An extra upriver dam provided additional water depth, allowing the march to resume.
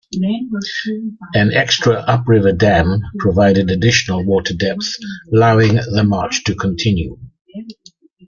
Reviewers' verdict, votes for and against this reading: rejected, 0, 2